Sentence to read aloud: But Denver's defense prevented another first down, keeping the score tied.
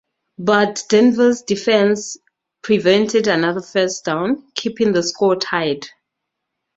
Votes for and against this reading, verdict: 2, 0, accepted